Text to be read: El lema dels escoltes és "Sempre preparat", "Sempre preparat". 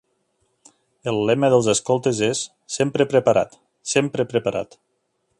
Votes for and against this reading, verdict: 2, 0, accepted